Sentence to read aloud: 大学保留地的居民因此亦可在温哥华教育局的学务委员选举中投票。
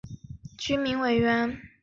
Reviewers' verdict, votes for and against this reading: rejected, 1, 2